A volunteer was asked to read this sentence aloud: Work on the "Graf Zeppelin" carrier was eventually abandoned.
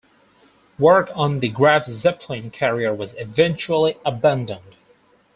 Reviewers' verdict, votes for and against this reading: accepted, 4, 0